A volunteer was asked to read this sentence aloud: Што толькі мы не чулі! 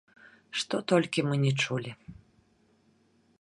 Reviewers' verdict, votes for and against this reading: rejected, 2, 3